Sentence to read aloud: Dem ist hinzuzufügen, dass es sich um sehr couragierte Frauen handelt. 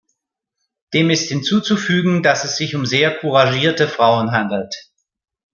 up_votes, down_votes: 3, 0